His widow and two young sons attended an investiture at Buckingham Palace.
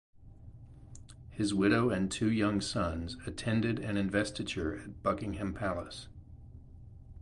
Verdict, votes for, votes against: accepted, 2, 0